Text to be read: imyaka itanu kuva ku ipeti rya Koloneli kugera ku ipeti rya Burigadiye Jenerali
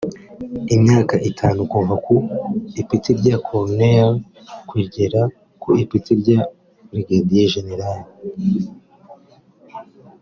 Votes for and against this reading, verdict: 3, 1, accepted